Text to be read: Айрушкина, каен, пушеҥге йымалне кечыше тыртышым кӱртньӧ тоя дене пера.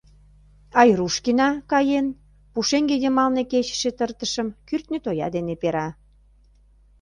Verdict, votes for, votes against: accepted, 2, 0